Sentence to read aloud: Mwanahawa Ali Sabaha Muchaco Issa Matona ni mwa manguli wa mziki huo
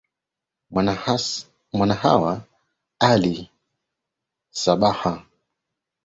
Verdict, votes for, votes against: rejected, 0, 3